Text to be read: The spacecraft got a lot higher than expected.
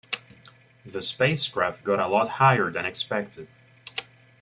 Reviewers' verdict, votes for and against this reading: accepted, 2, 0